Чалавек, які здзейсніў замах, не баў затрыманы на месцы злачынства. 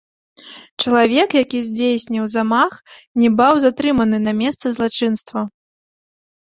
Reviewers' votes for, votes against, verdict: 3, 0, accepted